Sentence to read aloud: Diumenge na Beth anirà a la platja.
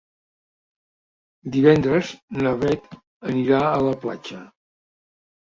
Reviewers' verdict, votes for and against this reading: rejected, 0, 2